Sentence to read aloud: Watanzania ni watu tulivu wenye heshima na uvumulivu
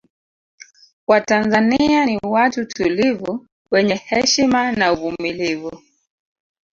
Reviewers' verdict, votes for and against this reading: rejected, 0, 2